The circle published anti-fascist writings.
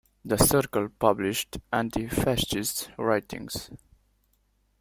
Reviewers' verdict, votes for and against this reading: accepted, 2, 0